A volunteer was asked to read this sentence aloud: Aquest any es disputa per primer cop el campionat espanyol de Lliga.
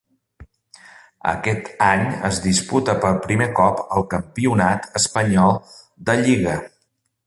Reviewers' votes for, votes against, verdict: 2, 0, accepted